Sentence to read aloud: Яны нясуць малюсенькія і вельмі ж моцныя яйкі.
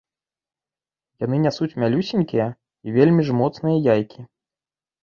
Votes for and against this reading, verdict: 0, 2, rejected